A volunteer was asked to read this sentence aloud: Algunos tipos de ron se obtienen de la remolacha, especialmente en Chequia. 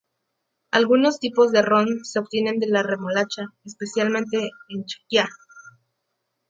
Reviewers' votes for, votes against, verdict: 2, 0, accepted